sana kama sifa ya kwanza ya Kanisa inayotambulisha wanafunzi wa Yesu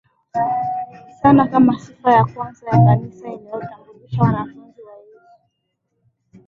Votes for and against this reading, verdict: 0, 3, rejected